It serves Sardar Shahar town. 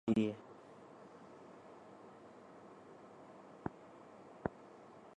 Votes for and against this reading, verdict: 1, 2, rejected